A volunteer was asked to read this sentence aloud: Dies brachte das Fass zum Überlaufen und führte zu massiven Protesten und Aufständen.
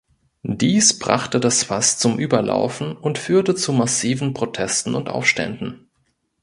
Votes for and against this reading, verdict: 2, 0, accepted